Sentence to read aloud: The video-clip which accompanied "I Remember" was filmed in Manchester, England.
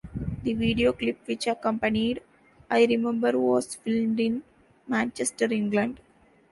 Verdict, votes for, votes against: accepted, 2, 1